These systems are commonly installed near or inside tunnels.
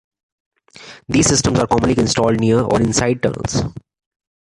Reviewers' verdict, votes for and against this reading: rejected, 1, 2